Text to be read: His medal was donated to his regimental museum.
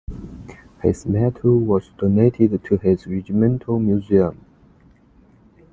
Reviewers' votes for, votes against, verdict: 2, 0, accepted